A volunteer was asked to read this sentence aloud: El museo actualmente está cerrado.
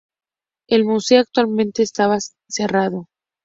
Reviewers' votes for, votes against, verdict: 0, 2, rejected